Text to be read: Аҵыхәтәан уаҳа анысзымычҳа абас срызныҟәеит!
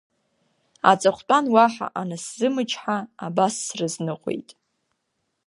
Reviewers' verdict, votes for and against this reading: rejected, 1, 2